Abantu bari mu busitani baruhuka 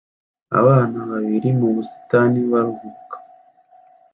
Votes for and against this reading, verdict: 0, 2, rejected